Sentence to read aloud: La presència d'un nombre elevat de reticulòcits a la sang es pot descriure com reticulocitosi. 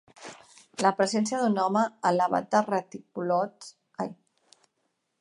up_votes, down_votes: 0, 2